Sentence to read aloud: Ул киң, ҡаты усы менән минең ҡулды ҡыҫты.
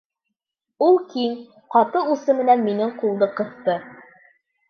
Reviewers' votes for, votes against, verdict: 2, 0, accepted